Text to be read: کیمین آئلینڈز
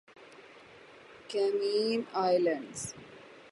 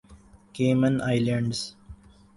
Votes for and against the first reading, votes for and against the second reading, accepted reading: 0, 3, 5, 0, second